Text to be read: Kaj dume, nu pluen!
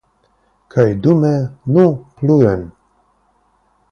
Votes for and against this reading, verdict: 3, 0, accepted